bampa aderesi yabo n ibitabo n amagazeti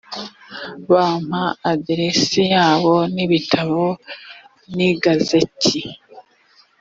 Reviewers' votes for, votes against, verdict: 1, 2, rejected